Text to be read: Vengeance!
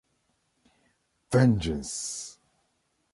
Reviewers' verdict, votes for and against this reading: accepted, 2, 0